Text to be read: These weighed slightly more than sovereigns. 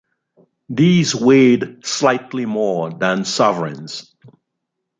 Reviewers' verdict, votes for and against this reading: accepted, 2, 0